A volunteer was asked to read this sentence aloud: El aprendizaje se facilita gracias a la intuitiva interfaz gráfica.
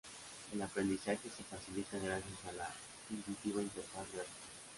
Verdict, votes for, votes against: rejected, 0, 2